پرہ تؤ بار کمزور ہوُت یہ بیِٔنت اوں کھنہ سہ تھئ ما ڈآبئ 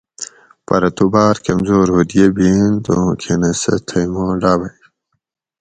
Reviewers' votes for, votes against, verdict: 4, 0, accepted